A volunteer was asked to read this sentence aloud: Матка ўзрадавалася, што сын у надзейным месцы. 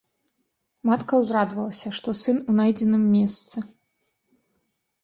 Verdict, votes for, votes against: rejected, 0, 2